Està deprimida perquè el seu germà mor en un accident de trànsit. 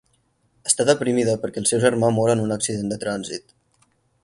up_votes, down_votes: 6, 0